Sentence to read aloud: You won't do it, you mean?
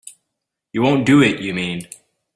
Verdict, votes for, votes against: accepted, 2, 0